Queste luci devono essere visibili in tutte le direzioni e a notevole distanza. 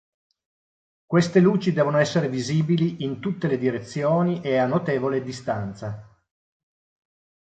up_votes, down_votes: 3, 0